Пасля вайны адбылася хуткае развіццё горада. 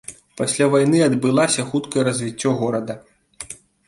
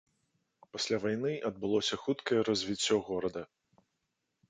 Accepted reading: first